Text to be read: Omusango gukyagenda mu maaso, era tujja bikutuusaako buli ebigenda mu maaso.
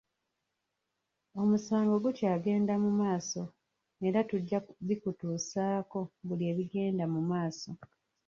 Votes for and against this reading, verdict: 0, 2, rejected